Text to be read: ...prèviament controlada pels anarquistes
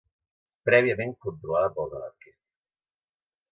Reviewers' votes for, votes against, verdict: 2, 0, accepted